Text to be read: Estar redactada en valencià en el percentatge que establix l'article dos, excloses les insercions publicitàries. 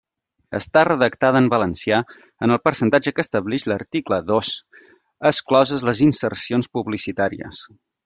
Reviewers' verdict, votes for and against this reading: accepted, 2, 0